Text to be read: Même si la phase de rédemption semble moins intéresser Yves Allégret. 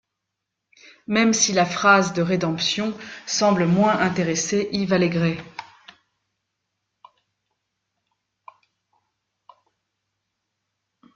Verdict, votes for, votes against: rejected, 1, 2